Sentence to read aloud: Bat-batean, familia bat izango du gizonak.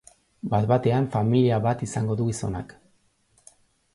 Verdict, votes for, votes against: accepted, 2, 0